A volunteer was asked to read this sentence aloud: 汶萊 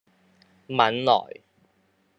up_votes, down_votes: 1, 2